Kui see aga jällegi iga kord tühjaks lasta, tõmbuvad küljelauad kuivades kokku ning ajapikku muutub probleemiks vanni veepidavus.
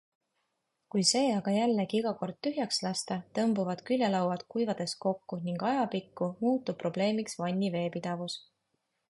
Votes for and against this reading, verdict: 2, 0, accepted